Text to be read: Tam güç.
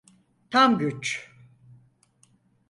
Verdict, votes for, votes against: accepted, 4, 0